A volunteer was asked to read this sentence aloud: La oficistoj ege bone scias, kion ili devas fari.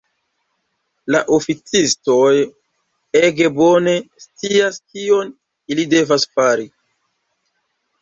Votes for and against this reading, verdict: 2, 0, accepted